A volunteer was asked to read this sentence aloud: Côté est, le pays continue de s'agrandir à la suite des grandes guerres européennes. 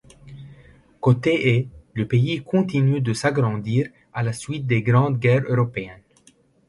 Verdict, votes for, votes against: rejected, 0, 2